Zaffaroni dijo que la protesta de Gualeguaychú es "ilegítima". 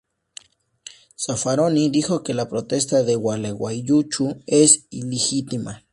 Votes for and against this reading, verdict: 2, 0, accepted